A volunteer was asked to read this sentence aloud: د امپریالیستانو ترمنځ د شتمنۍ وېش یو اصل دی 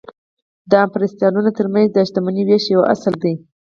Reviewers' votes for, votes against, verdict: 4, 0, accepted